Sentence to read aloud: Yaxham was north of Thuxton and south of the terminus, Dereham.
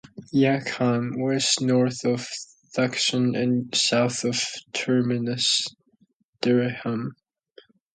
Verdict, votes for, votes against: rejected, 0, 2